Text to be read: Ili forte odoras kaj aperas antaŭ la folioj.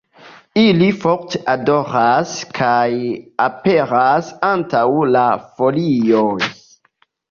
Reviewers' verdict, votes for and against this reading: accepted, 2, 0